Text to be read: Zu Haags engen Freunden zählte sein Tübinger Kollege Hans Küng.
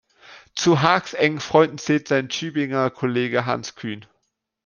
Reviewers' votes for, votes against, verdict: 1, 3, rejected